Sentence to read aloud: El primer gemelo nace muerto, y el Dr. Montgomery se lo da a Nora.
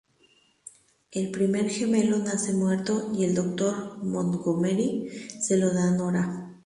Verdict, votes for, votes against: rejected, 2, 2